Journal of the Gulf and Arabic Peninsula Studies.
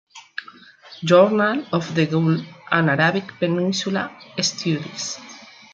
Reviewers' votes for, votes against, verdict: 0, 2, rejected